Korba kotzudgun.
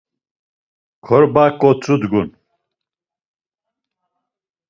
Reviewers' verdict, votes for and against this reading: accepted, 2, 0